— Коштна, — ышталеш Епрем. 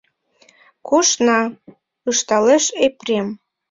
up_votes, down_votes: 0, 2